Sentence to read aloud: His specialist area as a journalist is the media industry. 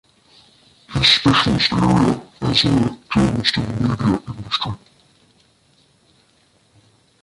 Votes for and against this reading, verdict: 0, 2, rejected